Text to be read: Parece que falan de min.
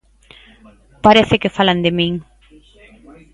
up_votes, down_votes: 5, 0